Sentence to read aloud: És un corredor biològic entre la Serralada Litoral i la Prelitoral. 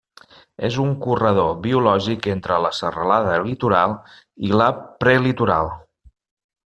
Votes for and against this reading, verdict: 2, 0, accepted